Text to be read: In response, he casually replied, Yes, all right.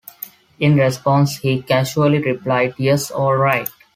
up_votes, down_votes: 2, 1